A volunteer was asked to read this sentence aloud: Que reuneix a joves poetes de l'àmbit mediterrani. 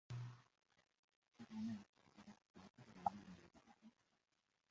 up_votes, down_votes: 1, 2